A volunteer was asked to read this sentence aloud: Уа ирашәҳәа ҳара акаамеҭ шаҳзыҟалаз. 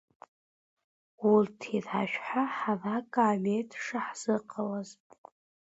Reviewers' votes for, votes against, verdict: 0, 2, rejected